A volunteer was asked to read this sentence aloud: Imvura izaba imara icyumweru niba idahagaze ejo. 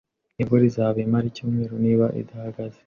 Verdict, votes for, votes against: rejected, 0, 2